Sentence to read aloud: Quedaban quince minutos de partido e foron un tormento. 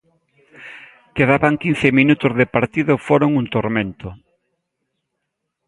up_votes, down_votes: 2, 0